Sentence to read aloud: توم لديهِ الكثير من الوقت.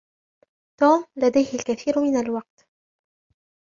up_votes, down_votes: 0, 2